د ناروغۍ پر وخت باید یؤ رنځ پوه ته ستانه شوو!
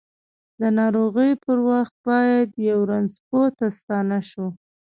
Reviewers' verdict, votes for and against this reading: rejected, 1, 2